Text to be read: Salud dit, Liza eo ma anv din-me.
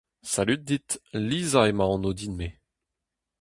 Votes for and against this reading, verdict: 4, 0, accepted